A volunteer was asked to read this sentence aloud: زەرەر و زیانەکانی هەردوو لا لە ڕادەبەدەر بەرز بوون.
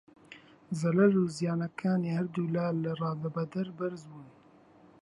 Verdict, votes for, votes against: accepted, 2, 1